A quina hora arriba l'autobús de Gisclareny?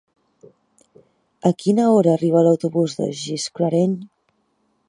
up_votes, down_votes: 0, 2